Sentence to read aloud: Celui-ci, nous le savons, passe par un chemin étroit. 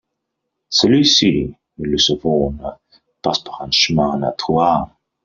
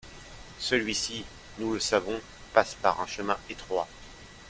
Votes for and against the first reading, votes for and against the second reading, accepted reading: 0, 2, 2, 0, second